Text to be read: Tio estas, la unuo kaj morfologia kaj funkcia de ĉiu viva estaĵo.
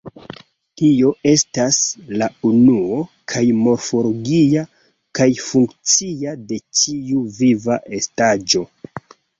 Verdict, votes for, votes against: accepted, 2, 0